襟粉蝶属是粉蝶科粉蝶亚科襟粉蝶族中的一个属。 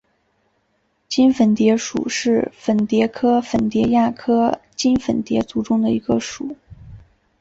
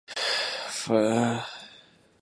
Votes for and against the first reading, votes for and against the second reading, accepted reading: 2, 0, 0, 2, first